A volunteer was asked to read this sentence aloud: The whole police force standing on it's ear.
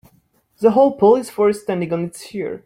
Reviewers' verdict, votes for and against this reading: accepted, 2, 1